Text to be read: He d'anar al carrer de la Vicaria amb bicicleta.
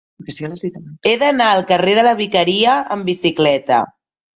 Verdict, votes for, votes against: rejected, 1, 2